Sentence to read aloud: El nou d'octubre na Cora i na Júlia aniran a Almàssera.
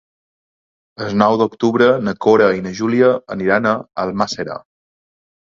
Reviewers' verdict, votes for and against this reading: rejected, 0, 2